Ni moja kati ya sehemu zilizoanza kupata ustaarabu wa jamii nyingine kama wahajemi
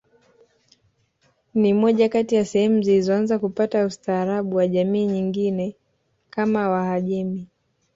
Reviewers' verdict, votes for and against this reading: accepted, 2, 1